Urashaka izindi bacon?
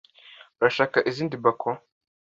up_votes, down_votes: 2, 0